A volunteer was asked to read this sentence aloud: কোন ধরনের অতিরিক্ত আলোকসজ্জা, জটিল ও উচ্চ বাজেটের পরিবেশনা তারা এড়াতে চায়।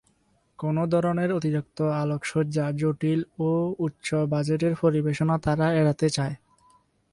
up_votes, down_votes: 0, 2